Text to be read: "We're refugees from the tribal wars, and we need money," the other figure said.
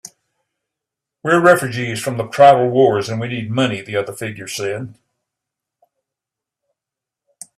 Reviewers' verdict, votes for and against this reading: accepted, 3, 0